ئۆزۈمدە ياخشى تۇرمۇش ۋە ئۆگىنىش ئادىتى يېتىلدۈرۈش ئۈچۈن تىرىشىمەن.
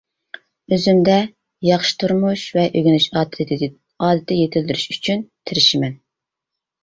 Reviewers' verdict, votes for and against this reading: rejected, 0, 2